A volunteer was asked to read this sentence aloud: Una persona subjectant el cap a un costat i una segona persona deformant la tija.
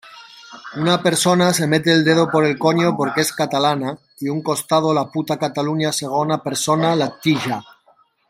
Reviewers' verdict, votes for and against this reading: rejected, 0, 2